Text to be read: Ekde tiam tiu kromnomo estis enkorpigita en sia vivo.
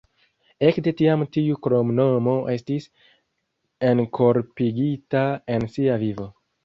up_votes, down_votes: 2, 0